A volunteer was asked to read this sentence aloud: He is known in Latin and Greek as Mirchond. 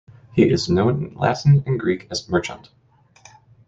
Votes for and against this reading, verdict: 0, 2, rejected